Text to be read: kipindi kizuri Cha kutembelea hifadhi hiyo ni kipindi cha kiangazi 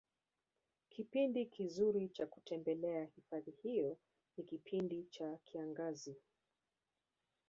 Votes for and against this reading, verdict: 0, 2, rejected